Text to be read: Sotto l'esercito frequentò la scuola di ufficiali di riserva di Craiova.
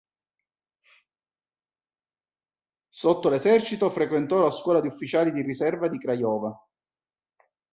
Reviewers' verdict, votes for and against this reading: accepted, 2, 0